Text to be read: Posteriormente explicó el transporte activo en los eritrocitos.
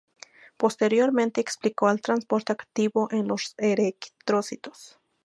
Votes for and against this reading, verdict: 0, 2, rejected